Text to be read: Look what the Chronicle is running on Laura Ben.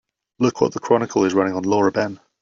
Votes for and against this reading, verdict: 2, 1, accepted